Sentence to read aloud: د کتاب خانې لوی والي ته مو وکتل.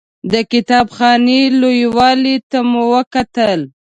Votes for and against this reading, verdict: 2, 1, accepted